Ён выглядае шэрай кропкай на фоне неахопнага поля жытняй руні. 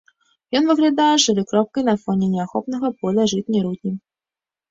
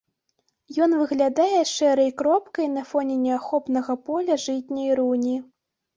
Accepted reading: second